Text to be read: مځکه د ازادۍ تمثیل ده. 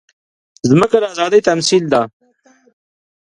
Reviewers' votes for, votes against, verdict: 2, 0, accepted